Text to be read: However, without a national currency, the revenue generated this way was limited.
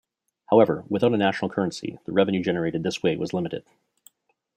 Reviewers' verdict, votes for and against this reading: accepted, 2, 0